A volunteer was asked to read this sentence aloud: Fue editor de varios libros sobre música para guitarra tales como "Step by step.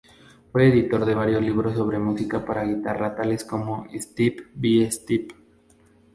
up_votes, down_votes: 2, 0